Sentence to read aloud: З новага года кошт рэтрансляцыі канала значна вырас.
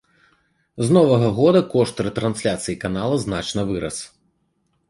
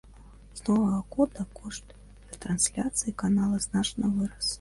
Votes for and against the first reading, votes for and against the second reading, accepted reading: 2, 0, 0, 2, first